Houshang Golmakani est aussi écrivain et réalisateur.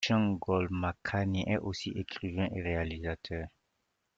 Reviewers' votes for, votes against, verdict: 0, 2, rejected